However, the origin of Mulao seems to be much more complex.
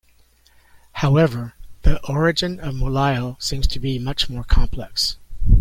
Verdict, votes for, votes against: accepted, 2, 0